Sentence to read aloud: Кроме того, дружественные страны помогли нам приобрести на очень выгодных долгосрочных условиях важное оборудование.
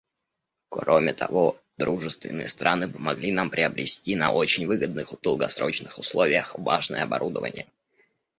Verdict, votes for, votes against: rejected, 0, 2